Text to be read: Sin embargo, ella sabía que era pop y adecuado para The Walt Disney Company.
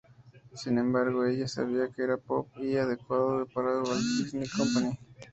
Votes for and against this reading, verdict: 0, 2, rejected